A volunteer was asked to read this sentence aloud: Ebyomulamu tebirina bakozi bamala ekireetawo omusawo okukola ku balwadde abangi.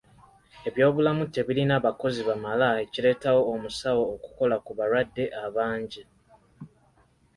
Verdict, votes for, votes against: accepted, 2, 0